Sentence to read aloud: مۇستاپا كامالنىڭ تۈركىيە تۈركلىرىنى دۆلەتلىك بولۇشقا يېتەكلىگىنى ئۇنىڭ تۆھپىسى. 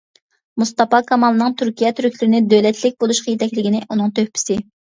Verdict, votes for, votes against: accepted, 2, 0